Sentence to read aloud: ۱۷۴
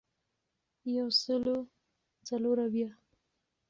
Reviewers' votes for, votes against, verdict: 0, 2, rejected